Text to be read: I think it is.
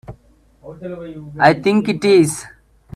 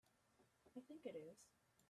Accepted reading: first